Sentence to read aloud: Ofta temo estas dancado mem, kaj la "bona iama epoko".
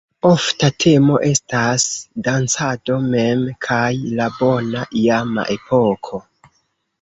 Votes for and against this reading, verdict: 1, 3, rejected